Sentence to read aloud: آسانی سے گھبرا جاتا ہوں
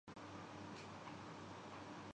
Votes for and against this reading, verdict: 0, 2, rejected